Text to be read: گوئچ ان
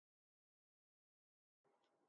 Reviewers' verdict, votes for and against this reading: rejected, 1, 11